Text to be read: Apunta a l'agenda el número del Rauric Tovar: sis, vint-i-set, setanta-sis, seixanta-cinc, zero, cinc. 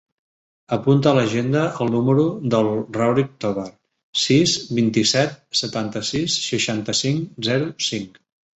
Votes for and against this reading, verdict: 2, 1, accepted